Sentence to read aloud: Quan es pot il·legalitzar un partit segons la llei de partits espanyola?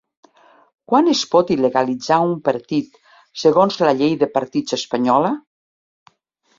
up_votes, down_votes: 3, 0